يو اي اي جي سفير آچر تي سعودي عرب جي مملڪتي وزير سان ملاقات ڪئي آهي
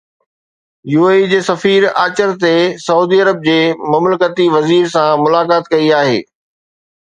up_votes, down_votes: 2, 0